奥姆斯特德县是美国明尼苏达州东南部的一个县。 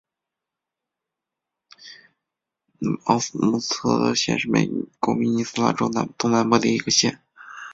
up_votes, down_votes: 0, 2